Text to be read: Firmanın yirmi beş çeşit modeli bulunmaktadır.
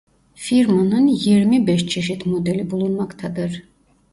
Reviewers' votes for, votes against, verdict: 1, 2, rejected